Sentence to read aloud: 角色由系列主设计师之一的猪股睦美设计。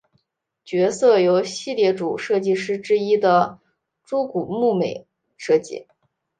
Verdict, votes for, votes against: accepted, 3, 1